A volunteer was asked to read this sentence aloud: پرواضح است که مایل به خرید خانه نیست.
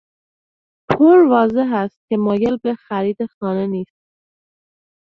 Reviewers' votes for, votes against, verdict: 1, 2, rejected